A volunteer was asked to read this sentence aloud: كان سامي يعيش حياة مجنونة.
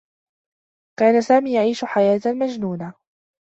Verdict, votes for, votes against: accepted, 2, 0